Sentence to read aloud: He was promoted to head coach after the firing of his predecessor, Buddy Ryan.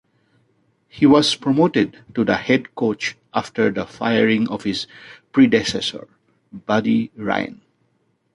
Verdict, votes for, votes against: rejected, 1, 2